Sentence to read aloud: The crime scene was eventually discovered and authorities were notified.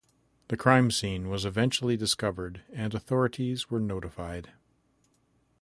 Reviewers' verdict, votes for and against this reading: accepted, 2, 0